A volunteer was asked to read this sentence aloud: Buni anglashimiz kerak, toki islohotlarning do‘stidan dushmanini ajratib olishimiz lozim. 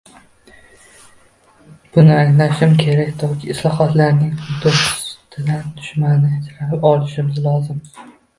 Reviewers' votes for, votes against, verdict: 0, 2, rejected